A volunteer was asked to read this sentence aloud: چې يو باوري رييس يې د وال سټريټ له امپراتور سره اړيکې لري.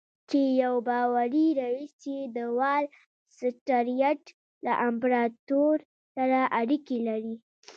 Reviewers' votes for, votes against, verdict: 1, 2, rejected